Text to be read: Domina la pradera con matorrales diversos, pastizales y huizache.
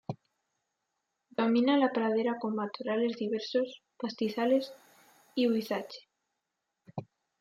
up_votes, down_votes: 2, 0